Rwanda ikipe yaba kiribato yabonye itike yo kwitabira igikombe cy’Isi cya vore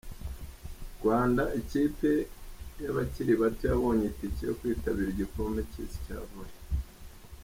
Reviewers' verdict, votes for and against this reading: accepted, 2, 0